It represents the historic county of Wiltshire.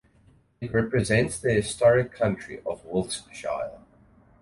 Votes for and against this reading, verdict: 2, 4, rejected